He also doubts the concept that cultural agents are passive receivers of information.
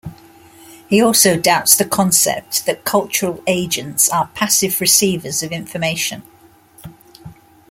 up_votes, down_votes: 2, 1